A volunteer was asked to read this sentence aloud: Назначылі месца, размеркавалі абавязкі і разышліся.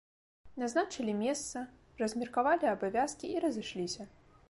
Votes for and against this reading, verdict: 2, 0, accepted